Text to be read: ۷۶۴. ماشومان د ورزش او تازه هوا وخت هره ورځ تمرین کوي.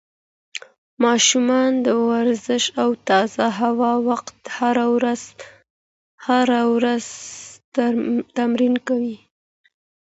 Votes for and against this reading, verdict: 0, 2, rejected